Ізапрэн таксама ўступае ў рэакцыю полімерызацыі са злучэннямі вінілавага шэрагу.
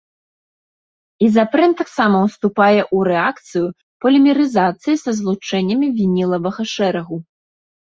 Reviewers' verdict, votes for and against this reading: accepted, 2, 0